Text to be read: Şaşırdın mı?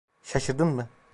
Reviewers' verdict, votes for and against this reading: rejected, 1, 2